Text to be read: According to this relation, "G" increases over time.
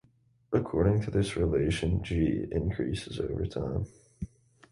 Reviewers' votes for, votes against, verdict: 2, 0, accepted